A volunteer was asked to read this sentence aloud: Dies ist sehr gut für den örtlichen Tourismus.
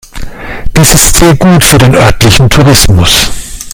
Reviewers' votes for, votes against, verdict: 2, 1, accepted